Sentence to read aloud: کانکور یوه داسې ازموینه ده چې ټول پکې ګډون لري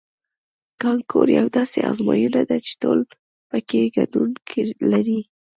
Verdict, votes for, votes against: rejected, 0, 2